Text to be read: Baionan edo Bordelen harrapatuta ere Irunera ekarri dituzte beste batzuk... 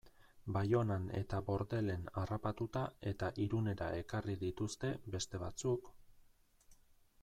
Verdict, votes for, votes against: rejected, 2, 2